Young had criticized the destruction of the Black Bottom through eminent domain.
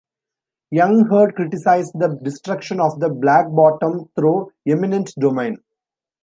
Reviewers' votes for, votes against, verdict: 2, 0, accepted